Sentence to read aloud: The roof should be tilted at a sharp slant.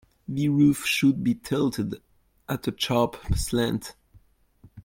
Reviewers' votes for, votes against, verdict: 2, 0, accepted